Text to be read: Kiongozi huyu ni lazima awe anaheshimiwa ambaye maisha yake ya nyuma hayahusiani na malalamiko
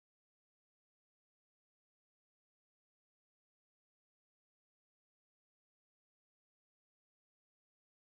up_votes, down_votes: 0, 2